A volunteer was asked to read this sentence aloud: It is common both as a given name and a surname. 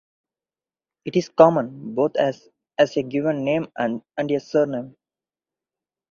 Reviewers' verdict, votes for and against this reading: rejected, 2, 2